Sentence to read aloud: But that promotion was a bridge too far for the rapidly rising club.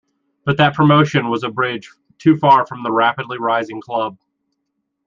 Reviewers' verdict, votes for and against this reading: rejected, 1, 2